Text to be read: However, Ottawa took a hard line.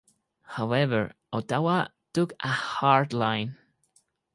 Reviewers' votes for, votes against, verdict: 4, 0, accepted